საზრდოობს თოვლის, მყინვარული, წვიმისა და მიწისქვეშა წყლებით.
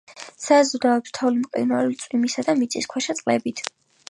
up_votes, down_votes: 3, 1